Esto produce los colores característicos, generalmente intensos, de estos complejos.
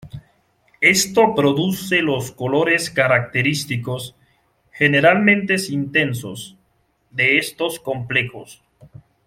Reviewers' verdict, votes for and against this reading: rejected, 0, 2